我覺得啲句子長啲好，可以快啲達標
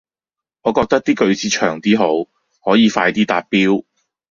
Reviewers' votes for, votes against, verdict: 2, 0, accepted